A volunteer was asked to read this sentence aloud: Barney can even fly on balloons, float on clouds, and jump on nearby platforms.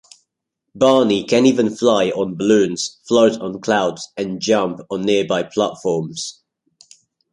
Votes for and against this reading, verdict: 2, 0, accepted